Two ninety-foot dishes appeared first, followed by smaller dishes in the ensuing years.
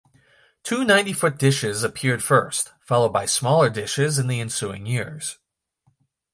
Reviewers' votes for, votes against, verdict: 2, 0, accepted